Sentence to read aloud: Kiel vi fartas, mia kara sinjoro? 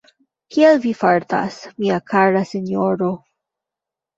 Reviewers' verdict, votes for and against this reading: accepted, 2, 0